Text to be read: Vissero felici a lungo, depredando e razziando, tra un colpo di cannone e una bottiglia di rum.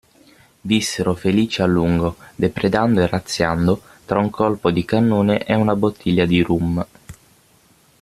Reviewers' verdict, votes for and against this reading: accepted, 6, 0